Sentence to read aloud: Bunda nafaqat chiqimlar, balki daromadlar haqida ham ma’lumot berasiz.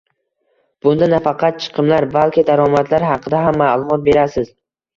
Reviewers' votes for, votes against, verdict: 2, 0, accepted